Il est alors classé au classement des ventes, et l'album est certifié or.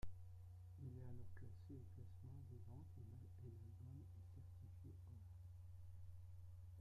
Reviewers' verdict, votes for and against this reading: rejected, 0, 2